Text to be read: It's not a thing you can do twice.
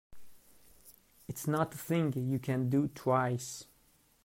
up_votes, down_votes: 1, 2